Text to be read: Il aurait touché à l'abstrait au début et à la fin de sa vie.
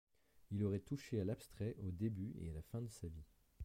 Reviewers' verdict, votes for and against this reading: rejected, 1, 2